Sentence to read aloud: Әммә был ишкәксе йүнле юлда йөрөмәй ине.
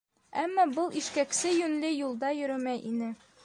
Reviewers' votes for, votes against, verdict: 2, 0, accepted